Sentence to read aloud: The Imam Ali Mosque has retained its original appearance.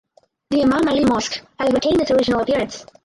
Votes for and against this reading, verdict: 0, 4, rejected